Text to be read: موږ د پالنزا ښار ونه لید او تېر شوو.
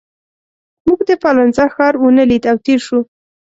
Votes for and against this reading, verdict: 2, 0, accepted